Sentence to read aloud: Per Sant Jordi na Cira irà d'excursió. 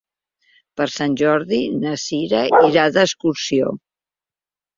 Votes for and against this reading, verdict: 0, 2, rejected